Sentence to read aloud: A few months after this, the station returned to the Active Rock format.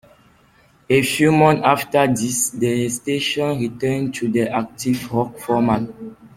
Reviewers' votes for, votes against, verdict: 2, 1, accepted